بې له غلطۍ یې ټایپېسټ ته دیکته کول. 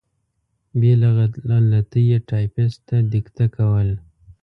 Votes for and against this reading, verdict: 0, 2, rejected